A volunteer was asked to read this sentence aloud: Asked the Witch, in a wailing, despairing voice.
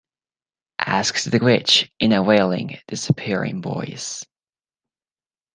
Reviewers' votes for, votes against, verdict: 1, 2, rejected